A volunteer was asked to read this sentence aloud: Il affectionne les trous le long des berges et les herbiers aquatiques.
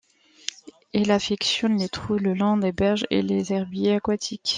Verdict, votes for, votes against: accepted, 2, 0